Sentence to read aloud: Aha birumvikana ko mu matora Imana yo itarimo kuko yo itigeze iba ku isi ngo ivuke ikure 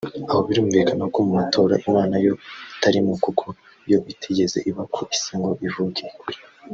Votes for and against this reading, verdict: 1, 2, rejected